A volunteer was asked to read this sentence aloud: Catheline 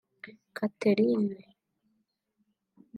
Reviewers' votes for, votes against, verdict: 1, 2, rejected